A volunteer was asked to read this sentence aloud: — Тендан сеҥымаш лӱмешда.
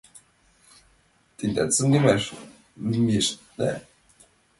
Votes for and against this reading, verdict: 0, 2, rejected